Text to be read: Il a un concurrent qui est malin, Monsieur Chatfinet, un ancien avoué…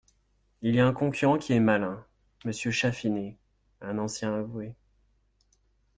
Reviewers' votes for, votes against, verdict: 1, 2, rejected